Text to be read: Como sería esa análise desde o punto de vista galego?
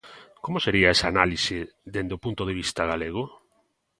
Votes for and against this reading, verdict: 1, 2, rejected